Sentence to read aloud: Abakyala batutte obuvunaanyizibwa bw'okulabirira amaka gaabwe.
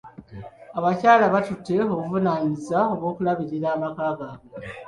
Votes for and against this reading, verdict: 2, 0, accepted